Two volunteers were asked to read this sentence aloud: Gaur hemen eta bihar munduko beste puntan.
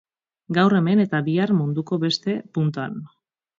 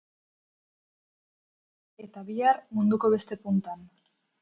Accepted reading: first